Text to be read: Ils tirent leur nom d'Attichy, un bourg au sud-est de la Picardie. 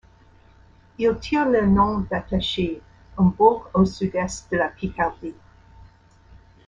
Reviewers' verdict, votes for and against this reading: rejected, 0, 2